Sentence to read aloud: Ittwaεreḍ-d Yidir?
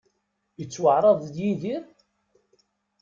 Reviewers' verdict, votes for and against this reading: rejected, 1, 2